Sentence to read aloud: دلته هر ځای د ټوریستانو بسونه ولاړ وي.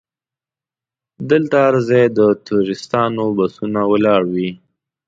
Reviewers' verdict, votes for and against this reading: accepted, 2, 0